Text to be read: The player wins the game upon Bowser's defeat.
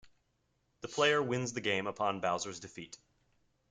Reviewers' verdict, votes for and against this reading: accepted, 2, 0